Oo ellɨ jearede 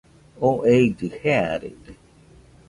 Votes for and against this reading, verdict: 1, 2, rejected